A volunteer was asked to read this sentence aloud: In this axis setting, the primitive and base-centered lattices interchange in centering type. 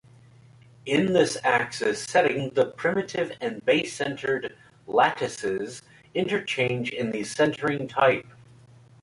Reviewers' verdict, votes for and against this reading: rejected, 0, 2